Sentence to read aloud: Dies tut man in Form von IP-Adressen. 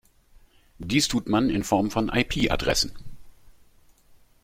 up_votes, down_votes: 2, 0